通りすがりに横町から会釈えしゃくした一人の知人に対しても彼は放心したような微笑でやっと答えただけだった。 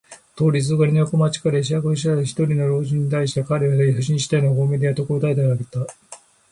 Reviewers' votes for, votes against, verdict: 2, 1, accepted